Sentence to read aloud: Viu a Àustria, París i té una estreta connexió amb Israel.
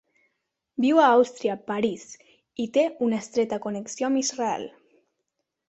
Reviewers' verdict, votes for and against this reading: accepted, 4, 0